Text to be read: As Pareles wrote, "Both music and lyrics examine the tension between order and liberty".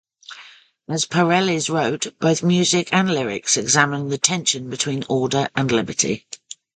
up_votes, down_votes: 2, 0